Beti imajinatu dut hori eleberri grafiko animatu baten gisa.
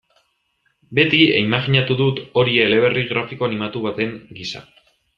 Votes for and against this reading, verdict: 2, 0, accepted